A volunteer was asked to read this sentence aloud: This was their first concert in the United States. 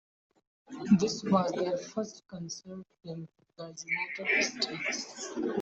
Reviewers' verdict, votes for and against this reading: rejected, 0, 2